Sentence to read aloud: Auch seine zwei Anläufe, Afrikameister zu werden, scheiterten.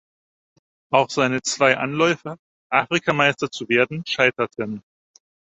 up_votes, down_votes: 4, 0